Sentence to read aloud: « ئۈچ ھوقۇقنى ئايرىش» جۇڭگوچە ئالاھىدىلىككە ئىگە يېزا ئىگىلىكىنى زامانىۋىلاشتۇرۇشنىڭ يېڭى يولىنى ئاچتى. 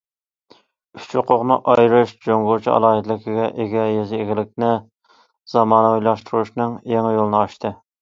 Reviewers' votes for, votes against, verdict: 0, 2, rejected